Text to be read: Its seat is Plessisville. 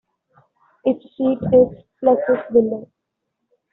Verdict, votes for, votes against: rejected, 0, 2